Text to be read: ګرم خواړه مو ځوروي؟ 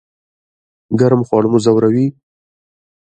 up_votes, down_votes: 2, 0